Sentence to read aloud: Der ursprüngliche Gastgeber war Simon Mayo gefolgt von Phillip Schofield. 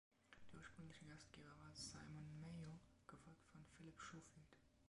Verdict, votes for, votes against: rejected, 1, 3